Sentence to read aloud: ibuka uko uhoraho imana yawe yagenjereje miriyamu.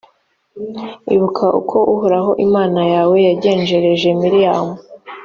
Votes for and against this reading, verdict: 3, 0, accepted